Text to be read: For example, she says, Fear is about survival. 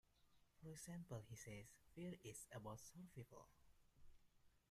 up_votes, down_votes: 0, 2